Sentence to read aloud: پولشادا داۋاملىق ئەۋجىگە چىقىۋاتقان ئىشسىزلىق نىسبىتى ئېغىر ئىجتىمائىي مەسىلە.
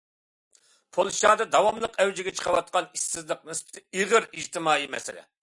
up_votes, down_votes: 2, 0